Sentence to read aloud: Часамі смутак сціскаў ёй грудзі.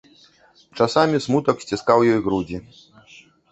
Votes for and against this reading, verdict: 0, 2, rejected